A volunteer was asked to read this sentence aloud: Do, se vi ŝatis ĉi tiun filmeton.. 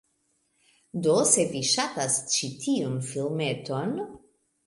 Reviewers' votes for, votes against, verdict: 2, 1, accepted